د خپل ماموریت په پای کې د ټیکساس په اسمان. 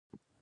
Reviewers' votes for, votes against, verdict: 0, 3, rejected